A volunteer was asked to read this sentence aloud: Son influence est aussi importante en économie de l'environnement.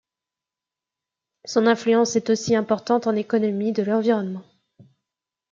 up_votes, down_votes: 2, 0